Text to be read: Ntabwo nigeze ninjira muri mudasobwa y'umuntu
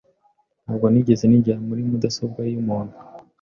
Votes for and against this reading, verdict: 2, 0, accepted